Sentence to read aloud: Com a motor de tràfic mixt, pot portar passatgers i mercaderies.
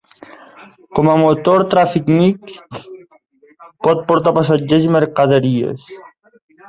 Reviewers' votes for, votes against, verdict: 0, 2, rejected